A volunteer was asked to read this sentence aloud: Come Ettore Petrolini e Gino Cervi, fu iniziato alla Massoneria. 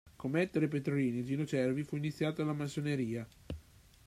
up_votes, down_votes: 2, 0